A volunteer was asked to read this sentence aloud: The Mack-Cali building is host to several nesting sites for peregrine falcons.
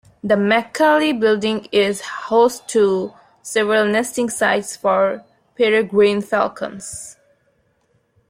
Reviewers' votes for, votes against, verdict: 2, 0, accepted